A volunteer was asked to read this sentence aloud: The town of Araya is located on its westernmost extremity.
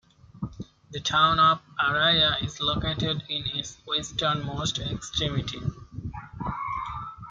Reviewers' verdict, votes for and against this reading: rejected, 0, 2